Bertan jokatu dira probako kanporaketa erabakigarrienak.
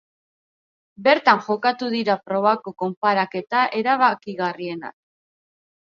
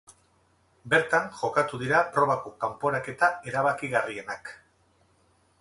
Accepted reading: second